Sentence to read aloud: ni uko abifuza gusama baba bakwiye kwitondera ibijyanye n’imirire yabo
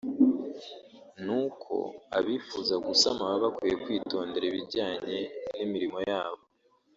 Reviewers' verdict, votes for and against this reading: rejected, 0, 2